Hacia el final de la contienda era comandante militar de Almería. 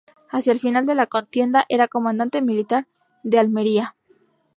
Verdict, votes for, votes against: rejected, 0, 2